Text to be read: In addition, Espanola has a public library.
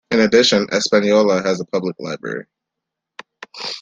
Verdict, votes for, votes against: accepted, 2, 1